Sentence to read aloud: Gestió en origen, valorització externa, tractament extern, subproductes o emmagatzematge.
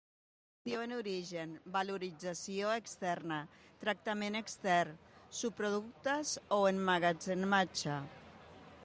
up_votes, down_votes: 0, 2